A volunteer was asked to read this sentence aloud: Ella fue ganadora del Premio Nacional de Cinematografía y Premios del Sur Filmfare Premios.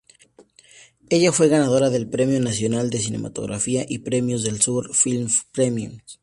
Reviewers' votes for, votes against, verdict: 0, 2, rejected